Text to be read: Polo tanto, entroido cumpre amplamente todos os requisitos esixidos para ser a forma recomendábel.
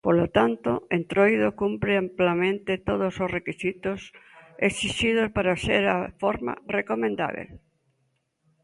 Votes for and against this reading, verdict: 0, 2, rejected